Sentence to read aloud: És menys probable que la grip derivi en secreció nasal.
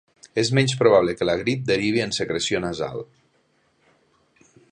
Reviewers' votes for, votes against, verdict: 3, 0, accepted